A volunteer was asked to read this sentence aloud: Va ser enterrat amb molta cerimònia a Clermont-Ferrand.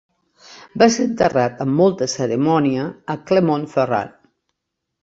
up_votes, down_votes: 0, 2